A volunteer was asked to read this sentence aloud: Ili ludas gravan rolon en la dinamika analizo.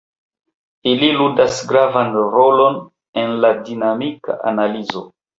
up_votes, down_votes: 2, 0